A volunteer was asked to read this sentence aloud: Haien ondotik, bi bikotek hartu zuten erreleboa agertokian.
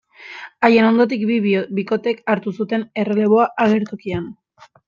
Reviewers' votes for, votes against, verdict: 1, 2, rejected